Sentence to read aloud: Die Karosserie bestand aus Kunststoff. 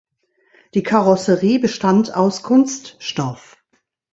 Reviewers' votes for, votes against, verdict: 2, 0, accepted